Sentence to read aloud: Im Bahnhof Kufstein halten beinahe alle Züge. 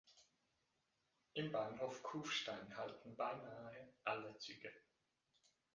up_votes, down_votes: 2, 1